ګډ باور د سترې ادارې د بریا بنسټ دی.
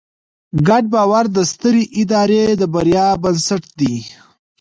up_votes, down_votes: 0, 2